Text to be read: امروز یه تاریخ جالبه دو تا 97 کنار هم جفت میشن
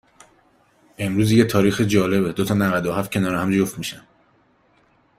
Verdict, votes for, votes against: rejected, 0, 2